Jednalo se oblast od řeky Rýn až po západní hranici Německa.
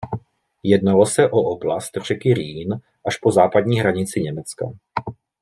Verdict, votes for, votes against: rejected, 0, 2